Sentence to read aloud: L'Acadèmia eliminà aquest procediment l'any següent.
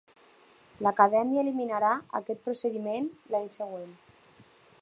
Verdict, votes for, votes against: rejected, 1, 2